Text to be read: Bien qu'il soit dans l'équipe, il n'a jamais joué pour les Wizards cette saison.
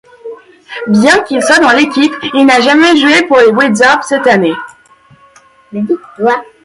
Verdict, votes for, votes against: rejected, 0, 2